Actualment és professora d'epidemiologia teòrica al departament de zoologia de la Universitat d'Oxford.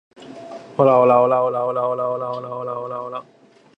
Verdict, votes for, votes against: rejected, 0, 2